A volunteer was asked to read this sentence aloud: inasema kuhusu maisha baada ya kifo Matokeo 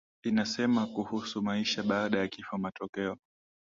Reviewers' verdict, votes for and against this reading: accepted, 2, 0